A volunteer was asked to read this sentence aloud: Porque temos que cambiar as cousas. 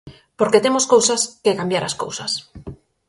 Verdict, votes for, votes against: rejected, 0, 4